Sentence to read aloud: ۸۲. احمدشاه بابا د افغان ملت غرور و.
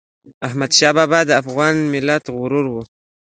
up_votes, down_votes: 0, 2